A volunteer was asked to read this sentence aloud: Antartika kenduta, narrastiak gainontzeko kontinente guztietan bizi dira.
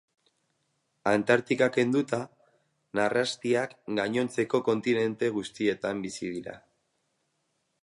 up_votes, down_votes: 2, 2